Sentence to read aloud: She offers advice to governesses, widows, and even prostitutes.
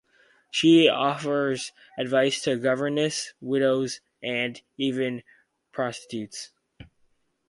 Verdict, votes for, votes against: rejected, 0, 4